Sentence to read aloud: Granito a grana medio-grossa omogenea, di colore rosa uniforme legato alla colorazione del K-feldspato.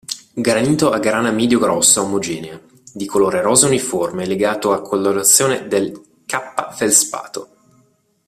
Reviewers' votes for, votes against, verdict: 2, 1, accepted